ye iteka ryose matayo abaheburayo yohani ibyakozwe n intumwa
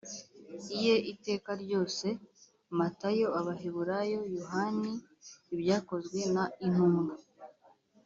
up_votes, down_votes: 2, 1